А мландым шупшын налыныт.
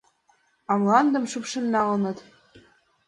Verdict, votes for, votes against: accepted, 2, 0